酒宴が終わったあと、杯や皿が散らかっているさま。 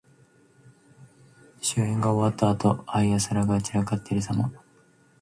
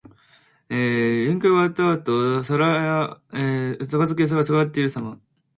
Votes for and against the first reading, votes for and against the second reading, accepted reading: 2, 0, 0, 2, first